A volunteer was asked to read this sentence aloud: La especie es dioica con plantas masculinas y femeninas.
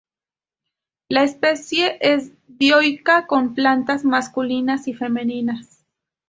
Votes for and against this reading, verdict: 4, 0, accepted